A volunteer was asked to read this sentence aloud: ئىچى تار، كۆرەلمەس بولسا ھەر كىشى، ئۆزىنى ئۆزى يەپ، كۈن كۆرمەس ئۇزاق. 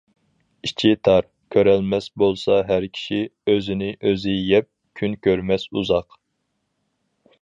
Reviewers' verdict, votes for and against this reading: accepted, 4, 0